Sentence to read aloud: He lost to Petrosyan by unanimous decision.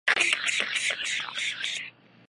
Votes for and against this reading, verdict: 0, 2, rejected